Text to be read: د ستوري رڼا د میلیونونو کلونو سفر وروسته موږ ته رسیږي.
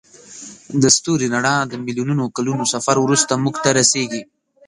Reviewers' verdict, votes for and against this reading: rejected, 1, 2